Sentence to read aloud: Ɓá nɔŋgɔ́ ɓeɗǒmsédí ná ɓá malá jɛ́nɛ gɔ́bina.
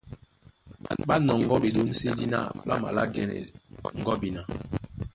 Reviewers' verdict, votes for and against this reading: rejected, 1, 2